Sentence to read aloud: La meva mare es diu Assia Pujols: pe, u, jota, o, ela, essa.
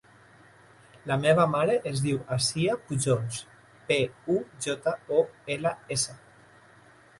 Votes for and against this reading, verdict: 1, 2, rejected